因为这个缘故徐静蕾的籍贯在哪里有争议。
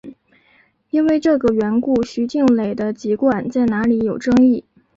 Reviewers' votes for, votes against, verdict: 2, 0, accepted